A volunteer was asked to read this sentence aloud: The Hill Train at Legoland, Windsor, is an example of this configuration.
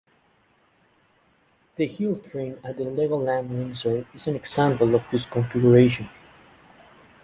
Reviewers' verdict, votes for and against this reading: accepted, 2, 0